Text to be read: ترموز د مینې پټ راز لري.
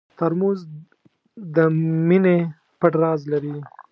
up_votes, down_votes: 2, 0